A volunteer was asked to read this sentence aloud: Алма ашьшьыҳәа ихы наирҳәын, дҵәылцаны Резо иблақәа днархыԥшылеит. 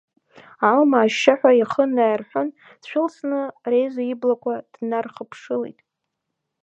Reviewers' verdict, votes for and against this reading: rejected, 0, 2